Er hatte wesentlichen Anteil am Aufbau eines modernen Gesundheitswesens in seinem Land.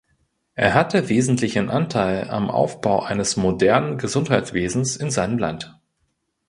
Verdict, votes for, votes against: accepted, 2, 0